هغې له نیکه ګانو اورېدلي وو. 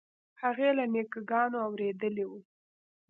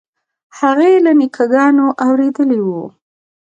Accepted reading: second